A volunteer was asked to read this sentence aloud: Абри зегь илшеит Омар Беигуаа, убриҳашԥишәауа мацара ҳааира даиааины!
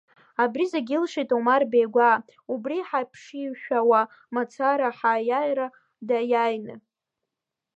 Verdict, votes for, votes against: rejected, 0, 2